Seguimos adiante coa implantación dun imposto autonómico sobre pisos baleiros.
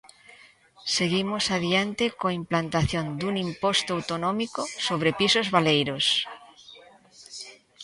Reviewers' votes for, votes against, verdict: 2, 1, accepted